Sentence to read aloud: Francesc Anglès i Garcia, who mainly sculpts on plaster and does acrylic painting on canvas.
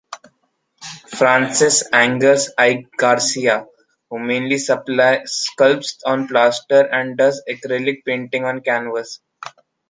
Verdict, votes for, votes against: rejected, 0, 2